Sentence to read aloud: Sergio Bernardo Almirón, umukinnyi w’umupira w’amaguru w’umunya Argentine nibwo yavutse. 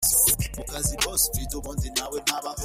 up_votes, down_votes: 0, 2